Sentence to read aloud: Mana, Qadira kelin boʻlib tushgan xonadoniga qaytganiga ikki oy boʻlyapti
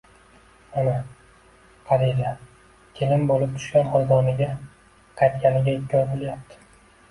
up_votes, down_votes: 2, 0